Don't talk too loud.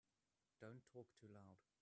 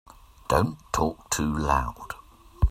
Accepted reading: second